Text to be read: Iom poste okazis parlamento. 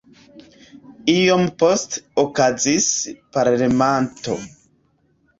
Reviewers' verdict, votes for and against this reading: rejected, 0, 2